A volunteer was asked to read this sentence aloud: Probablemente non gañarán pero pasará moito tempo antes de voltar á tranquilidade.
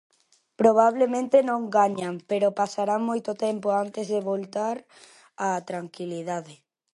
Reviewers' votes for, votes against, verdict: 0, 2, rejected